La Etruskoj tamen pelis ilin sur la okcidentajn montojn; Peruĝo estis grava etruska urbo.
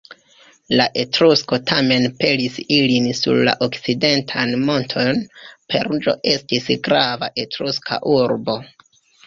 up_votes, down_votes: 0, 2